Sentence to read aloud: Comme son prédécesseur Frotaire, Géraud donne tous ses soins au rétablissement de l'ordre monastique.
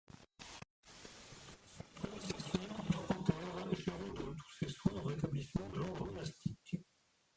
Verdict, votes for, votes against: rejected, 0, 2